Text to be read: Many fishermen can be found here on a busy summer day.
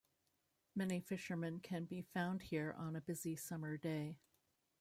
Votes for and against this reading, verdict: 2, 0, accepted